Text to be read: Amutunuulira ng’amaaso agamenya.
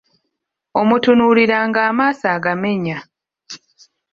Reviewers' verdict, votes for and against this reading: rejected, 1, 2